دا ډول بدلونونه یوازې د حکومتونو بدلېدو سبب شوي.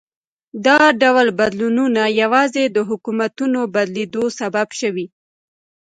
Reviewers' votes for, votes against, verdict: 2, 0, accepted